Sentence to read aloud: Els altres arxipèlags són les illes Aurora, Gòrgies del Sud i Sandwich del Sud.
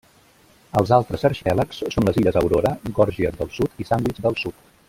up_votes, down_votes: 0, 2